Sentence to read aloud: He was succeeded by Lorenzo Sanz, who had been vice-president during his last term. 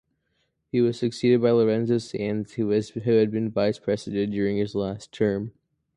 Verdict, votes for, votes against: accepted, 2, 0